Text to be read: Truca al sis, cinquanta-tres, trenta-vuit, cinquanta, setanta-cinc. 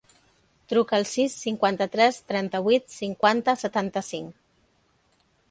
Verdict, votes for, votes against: accepted, 2, 0